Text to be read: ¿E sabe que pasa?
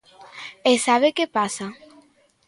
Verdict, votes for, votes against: accepted, 2, 0